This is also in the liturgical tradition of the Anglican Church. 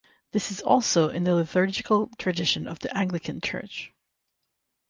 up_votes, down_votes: 0, 6